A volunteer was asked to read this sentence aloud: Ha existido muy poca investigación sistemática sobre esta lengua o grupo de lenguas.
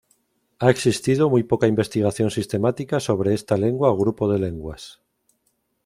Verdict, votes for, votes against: accepted, 2, 0